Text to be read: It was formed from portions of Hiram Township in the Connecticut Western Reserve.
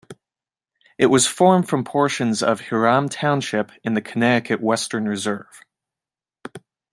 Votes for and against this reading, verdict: 2, 1, accepted